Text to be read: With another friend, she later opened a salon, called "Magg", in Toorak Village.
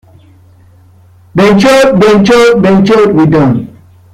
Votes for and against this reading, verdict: 0, 2, rejected